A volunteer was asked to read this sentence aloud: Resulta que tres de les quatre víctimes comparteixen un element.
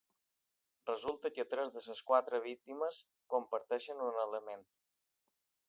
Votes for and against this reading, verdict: 2, 0, accepted